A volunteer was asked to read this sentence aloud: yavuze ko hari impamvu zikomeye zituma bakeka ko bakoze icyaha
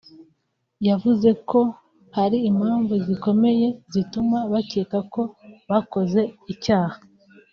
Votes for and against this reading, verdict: 2, 3, rejected